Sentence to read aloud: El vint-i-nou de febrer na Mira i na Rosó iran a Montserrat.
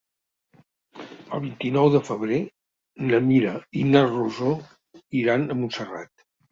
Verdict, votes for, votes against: accepted, 3, 0